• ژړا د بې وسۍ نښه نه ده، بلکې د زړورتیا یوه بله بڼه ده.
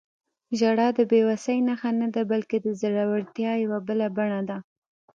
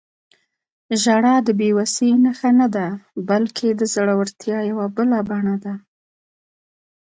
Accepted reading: second